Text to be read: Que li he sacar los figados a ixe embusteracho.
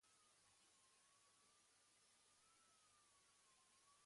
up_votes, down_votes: 1, 2